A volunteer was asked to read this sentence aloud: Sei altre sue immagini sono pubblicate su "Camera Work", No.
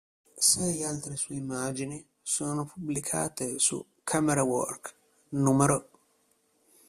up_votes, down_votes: 1, 2